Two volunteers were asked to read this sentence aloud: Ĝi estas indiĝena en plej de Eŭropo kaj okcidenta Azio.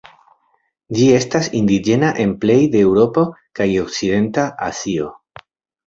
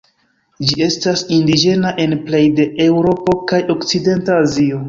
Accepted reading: first